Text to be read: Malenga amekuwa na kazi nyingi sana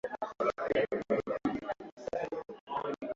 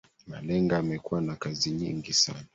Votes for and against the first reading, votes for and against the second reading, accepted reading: 2, 5, 2, 1, second